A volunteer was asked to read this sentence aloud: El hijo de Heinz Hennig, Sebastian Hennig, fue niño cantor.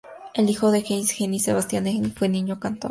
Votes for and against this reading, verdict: 2, 0, accepted